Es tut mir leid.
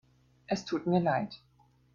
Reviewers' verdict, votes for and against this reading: accepted, 2, 0